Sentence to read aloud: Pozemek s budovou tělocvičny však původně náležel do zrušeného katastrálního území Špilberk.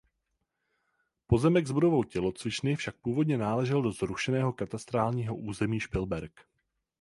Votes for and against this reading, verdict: 4, 0, accepted